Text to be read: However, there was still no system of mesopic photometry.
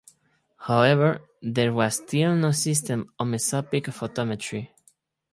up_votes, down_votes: 2, 4